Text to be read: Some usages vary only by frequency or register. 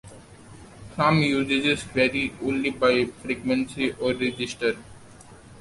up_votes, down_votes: 1, 2